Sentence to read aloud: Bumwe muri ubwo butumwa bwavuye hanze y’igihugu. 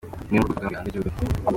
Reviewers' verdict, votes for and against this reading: rejected, 0, 2